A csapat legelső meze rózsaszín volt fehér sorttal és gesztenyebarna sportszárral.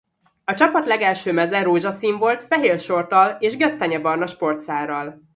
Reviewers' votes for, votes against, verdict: 2, 0, accepted